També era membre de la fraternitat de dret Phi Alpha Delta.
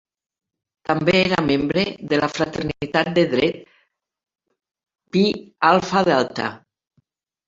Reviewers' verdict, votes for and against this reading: rejected, 1, 2